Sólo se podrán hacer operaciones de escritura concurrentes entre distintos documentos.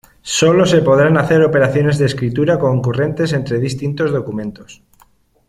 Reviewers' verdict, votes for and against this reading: accepted, 2, 0